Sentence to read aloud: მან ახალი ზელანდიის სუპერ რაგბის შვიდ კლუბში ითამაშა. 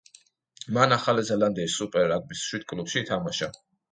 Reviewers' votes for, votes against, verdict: 2, 0, accepted